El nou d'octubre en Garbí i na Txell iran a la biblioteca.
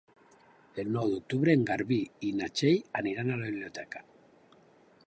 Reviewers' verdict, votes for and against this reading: rejected, 1, 2